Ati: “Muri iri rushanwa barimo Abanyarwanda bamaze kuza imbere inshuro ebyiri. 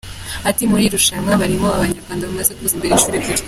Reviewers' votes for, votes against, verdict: 2, 1, accepted